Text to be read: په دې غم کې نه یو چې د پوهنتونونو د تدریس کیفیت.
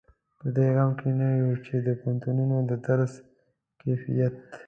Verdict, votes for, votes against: rejected, 0, 2